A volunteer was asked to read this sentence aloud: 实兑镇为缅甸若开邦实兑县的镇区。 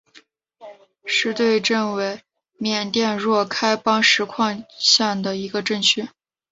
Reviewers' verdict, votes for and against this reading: accepted, 2, 1